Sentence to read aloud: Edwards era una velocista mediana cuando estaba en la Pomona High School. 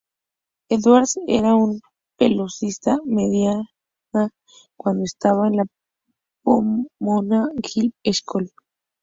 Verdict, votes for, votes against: rejected, 0, 2